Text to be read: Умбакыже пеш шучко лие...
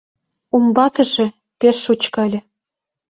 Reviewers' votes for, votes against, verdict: 0, 2, rejected